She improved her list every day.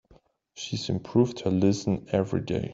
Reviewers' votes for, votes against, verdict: 1, 2, rejected